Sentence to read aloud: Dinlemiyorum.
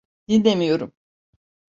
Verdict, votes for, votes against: accepted, 2, 0